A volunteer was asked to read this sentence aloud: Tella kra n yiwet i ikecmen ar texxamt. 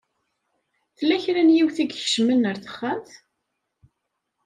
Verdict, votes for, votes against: accepted, 2, 0